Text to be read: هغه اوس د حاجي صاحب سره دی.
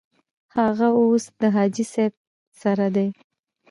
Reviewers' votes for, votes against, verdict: 1, 2, rejected